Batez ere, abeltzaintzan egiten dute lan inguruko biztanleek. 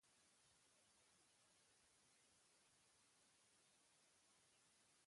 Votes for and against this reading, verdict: 0, 3, rejected